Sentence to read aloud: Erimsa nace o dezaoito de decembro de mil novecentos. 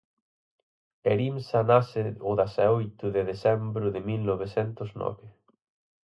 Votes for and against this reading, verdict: 0, 4, rejected